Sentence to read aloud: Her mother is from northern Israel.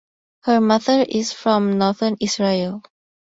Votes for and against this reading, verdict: 4, 0, accepted